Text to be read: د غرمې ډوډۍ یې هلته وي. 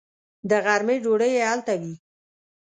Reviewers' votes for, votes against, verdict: 2, 0, accepted